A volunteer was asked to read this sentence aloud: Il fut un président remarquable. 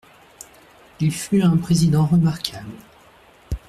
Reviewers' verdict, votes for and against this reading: accepted, 2, 0